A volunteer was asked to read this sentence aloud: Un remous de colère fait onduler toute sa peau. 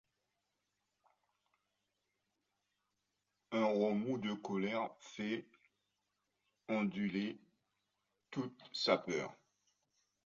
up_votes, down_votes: 0, 2